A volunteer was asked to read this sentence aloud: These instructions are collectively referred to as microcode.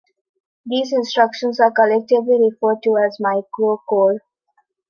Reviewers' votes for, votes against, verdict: 3, 1, accepted